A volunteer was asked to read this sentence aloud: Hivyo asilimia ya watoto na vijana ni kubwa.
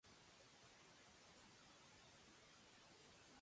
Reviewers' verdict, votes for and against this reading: rejected, 0, 2